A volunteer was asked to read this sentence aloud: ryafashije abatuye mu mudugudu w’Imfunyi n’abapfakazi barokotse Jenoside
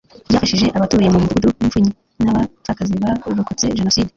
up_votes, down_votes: 0, 2